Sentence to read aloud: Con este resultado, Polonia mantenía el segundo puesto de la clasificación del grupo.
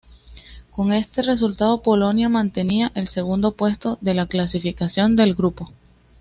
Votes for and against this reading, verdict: 2, 1, accepted